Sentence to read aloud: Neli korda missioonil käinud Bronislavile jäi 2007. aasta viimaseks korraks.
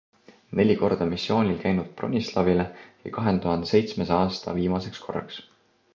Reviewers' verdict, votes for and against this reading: rejected, 0, 2